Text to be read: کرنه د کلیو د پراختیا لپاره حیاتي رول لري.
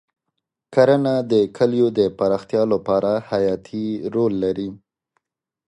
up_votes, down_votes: 2, 0